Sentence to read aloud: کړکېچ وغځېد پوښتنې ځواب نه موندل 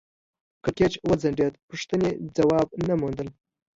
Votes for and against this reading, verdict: 2, 0, accepted